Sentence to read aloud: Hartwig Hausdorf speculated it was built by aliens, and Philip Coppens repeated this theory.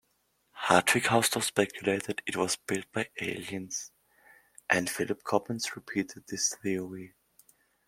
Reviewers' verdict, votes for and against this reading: accepted, 2, 0